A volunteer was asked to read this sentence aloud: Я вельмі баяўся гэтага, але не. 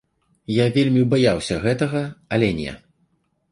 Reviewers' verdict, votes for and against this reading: accepted, 2, 0